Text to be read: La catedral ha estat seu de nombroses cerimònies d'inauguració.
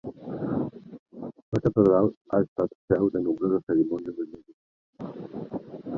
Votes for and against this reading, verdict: 0, 2, rejected